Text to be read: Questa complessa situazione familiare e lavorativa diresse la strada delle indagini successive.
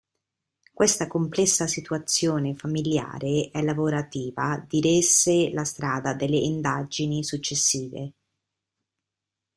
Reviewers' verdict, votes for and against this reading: accepted, 2, 1